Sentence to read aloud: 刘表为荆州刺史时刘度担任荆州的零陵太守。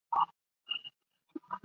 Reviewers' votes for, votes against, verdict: 3, 2, accepted